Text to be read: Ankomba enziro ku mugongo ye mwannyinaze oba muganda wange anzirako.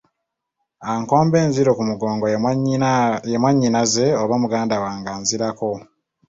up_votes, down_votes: 1, 2